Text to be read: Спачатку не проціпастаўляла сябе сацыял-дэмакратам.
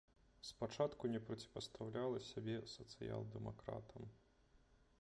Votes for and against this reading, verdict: 0, 2, rejected